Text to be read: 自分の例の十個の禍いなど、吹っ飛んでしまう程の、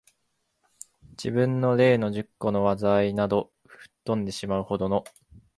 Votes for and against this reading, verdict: 2, 0, accepted